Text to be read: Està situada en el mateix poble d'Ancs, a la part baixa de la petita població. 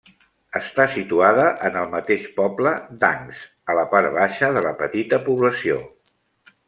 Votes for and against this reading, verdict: 2, 0, accepted